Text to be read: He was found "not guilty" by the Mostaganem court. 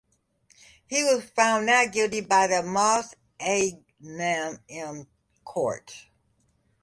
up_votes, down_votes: 0, 2